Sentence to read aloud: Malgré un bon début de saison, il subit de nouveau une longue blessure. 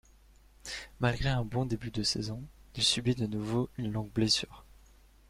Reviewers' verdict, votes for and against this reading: accepted, 2, 0